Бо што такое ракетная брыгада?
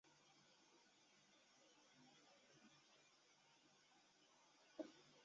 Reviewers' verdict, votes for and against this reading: rejected, 0, 2